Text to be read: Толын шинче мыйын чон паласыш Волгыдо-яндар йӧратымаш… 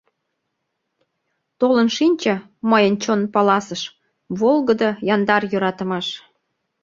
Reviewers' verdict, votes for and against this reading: rejected, 0, 2